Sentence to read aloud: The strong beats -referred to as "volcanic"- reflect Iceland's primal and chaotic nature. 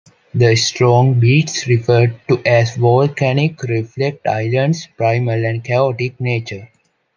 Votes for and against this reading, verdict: 0, 2, rejected